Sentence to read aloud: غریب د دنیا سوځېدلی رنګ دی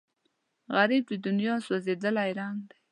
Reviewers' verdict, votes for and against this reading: rejected, 1, 2